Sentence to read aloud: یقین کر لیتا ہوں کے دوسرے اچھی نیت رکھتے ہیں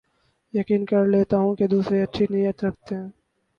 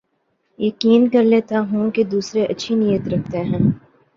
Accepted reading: second